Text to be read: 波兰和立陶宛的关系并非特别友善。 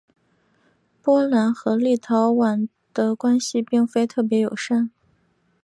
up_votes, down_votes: 2, 0